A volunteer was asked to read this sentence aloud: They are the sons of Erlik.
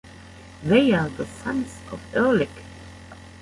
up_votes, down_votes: 0, 2